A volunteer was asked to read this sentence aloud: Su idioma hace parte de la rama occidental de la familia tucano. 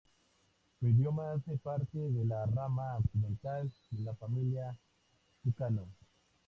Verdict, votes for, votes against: accepted, 2, 0